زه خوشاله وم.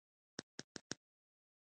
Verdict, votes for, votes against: rejected, 1, 2